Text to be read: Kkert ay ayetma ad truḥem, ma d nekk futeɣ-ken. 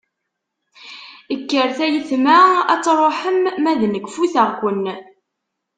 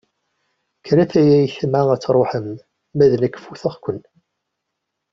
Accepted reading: second